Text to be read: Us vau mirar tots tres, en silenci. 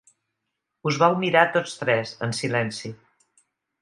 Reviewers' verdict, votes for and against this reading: accepted, 4, 0